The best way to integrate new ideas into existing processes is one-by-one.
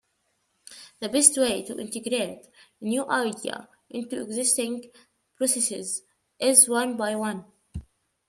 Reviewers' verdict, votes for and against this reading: rejected, 0, 2